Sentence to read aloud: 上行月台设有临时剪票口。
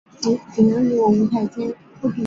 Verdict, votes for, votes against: rejected, 0, 2